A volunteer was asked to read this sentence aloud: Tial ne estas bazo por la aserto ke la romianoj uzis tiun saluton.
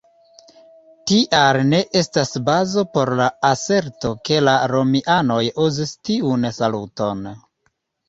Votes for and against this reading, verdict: 2, 1, accepted